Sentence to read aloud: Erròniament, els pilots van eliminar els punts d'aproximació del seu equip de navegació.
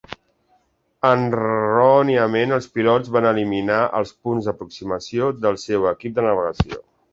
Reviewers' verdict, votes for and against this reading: rejected, 1, 2